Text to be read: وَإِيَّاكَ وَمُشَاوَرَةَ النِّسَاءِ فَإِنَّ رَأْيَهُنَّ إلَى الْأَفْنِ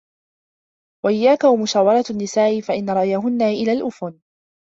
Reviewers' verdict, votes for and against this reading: rejected, 0, 2